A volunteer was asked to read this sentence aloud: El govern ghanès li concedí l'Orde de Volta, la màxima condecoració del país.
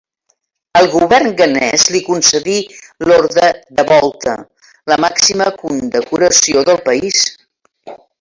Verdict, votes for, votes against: rejected, 2, 3